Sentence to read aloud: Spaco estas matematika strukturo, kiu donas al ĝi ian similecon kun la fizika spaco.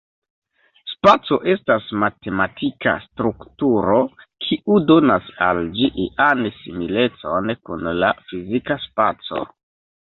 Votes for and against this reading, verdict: 1, 2, rejected